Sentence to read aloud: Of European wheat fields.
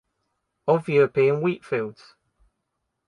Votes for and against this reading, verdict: 1, 2, rejected